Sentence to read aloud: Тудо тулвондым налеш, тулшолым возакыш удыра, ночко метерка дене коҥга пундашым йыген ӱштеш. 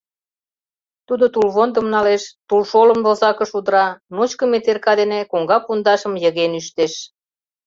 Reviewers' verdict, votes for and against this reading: accepted, 2, 0